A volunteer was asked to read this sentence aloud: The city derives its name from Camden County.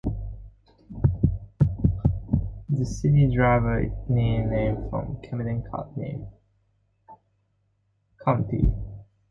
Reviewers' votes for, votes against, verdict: 0, 2, rejected